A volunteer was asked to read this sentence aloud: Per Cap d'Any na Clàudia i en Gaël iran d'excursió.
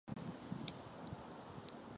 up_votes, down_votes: 0, 3